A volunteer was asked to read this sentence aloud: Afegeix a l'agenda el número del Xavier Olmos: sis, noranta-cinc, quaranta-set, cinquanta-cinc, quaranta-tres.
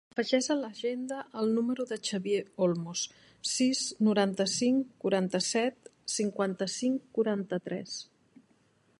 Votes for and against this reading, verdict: 0, 2, rejected